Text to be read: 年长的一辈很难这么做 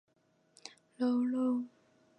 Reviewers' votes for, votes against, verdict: 0, 2, rejected